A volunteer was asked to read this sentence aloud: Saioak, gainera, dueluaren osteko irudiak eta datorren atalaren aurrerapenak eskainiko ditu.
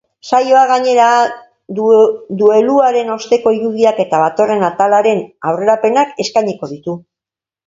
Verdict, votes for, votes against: rejected, 0, 2